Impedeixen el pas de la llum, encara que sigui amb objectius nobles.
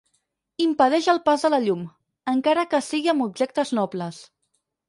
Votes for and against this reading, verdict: 4, 6, rejected